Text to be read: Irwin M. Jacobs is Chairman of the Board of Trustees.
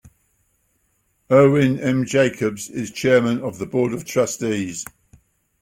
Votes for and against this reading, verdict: 2, 0, accepted